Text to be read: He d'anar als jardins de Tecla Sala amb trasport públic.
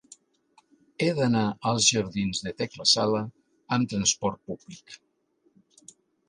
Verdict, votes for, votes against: accepted, 3, 0